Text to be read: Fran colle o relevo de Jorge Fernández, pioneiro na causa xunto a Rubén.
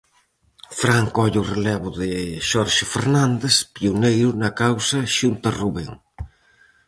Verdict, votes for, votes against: rejected, 0, 4